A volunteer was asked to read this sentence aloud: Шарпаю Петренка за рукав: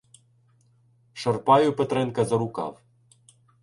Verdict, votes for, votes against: rejected, 0, 2